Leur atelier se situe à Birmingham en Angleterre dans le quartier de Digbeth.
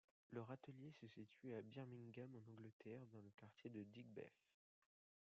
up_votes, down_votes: 2, 0